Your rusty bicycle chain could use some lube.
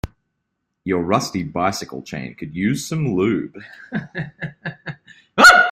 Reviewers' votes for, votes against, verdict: 0, 2, rejected